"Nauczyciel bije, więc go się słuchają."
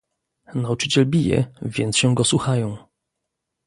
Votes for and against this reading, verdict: 1, 2, rejected